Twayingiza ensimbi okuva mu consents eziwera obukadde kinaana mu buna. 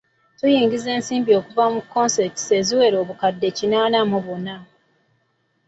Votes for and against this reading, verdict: 2, 0, accepted